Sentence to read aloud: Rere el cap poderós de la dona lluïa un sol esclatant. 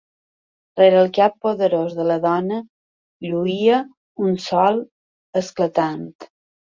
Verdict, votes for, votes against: accepted, 2, 0